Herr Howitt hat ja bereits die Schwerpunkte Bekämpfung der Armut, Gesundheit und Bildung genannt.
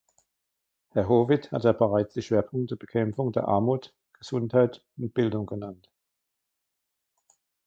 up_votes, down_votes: 1, 2